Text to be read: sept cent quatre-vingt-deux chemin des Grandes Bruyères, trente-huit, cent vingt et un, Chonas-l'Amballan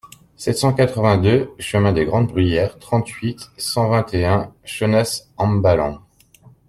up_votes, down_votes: 1, 2